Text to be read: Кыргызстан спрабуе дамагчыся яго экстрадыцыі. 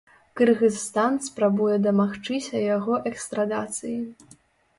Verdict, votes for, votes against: rejected, 0, 2